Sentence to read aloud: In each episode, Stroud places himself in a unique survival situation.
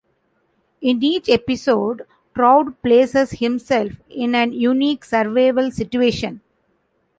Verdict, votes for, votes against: rejected, 1, 2